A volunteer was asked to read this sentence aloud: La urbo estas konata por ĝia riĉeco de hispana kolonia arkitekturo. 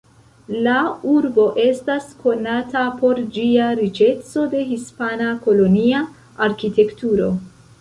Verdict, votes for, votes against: rejected, 1, 2